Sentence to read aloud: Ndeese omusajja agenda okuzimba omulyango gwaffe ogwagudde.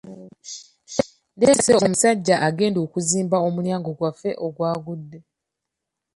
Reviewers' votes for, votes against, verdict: 2, 0, accepted